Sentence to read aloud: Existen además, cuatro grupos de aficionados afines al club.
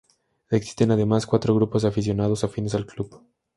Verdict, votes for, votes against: accepted, 2, 0